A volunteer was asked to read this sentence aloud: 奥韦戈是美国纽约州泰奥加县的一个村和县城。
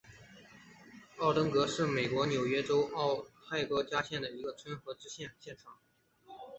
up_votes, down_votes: 1, 2